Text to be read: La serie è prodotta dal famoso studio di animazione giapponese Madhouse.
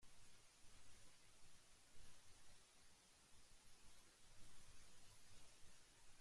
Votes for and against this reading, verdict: 0, 2, rejected